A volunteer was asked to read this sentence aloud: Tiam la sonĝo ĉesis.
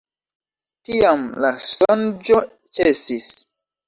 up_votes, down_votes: 2, 1